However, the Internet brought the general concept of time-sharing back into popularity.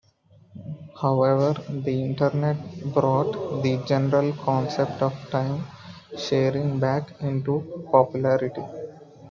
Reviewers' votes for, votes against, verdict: 2, 0, accepted